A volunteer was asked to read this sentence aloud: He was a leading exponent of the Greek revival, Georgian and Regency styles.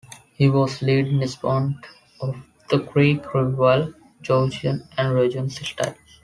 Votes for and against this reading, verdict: 0, 2, rejected